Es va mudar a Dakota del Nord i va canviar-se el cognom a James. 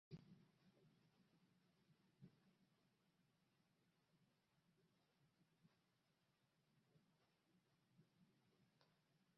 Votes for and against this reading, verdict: 0, 2, rejected